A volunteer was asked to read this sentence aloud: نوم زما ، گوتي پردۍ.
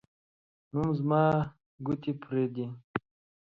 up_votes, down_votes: 1, 2